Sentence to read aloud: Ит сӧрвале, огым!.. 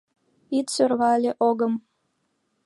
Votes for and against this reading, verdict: 2, 3, rejected